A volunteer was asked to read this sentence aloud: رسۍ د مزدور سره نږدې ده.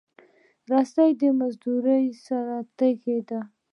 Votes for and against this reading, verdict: 4, 0, accepted